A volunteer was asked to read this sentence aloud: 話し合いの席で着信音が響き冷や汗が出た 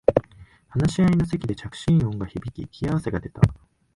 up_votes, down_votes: 2, 4